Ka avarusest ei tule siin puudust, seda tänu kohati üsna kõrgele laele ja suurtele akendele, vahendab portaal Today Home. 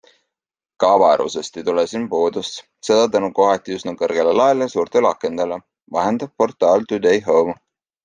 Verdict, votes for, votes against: accepted, 2, 0